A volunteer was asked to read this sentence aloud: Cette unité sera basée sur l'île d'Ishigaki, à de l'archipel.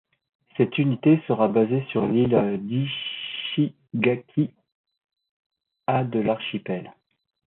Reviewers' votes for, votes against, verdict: 1, 2, rejected